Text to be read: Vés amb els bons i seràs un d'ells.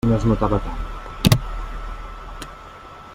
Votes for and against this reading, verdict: 0, 2, rejected